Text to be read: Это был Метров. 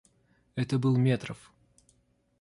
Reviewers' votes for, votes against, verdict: 2, 0, accepted